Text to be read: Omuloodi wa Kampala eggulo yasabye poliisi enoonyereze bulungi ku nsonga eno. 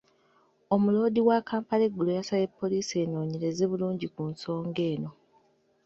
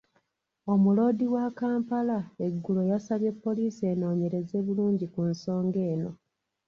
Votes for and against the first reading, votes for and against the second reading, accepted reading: 2, 0, 1, 2, first